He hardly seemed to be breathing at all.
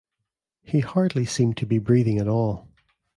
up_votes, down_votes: 2, 0